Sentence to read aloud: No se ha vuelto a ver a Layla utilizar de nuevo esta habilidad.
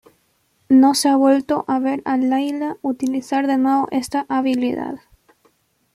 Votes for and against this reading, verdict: 2, 1, accepted